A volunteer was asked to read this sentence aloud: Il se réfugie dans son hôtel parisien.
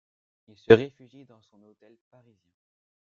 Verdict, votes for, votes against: rejected, 0, 2